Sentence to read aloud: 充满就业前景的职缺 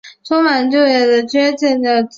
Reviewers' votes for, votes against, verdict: 1, 4, rejected